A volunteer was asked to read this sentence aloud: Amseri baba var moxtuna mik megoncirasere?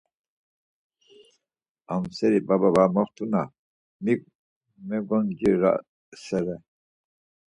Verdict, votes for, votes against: rejected, 0, 4